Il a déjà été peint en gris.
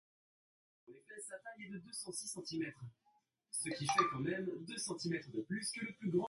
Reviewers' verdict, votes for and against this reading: rejected, 0, 2